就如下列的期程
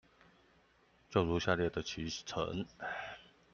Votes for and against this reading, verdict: 2, 1, accepted